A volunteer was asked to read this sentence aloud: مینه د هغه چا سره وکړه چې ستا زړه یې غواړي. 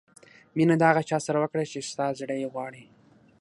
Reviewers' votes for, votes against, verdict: 6, 0, accepted